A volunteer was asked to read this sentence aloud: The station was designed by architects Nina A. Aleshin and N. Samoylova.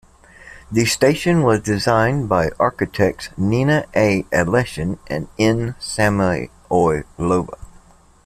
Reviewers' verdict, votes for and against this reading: rejected, 0, 2